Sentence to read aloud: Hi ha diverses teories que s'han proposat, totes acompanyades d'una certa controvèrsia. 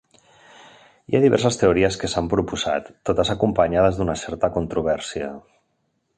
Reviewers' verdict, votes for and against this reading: accepted, 3, 0